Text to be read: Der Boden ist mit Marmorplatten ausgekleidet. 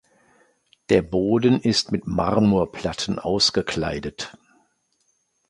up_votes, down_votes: 2, 0